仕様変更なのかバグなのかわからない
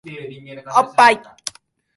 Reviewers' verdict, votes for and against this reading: rejected, 0, 3